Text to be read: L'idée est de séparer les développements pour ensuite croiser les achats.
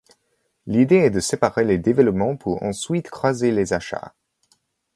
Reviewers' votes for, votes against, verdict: 0, 2, rejected